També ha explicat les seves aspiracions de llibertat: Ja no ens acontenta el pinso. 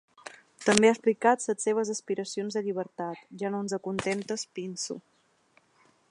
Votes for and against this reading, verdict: 0, 3, rejected